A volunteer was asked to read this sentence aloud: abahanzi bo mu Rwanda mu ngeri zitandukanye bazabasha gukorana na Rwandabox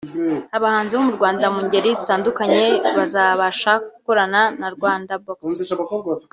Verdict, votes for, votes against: accepted, 2, 0